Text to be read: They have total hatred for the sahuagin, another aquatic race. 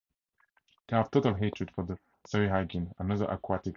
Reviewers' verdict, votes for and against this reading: rejected, 0, 4